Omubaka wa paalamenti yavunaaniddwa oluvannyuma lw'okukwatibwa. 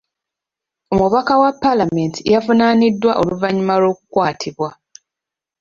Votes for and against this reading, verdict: 2, 1, accepted